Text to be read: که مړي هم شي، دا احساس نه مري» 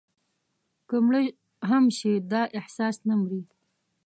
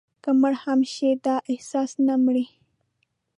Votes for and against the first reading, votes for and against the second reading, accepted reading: 1, 2, 2, 0, second